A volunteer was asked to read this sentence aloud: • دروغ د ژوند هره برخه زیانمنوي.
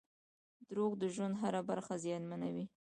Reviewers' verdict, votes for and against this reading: rejected, 0, 2